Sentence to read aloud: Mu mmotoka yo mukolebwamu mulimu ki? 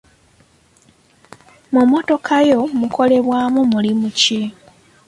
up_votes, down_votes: 2, 0